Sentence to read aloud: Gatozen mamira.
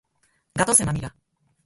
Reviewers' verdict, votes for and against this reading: rejected, 0, 6